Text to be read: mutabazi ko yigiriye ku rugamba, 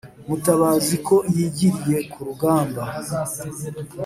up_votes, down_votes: 2, 0